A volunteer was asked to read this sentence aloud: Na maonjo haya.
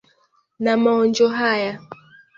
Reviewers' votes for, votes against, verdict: 2, 0, accepted